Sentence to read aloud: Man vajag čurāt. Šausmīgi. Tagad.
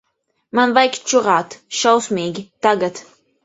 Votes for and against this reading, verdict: 1, 2, rejected